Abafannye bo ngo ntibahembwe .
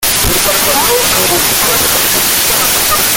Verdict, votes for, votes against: rejected, 0, 2